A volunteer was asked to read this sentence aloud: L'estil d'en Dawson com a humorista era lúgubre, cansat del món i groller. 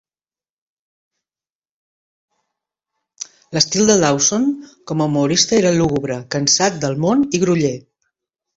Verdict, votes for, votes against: rejected, 1, 2